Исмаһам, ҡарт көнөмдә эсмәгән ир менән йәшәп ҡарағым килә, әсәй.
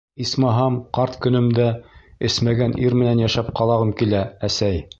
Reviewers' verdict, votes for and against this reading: rejected, 1, 2